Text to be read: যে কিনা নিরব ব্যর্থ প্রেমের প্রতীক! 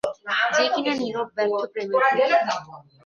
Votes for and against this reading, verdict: 1, 2, rejected